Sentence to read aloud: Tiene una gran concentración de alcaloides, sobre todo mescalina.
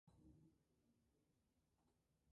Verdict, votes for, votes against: rejected, 0, 2